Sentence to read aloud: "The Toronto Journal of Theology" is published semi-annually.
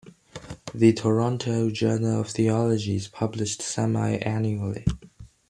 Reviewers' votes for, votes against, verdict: 2, 1, accepted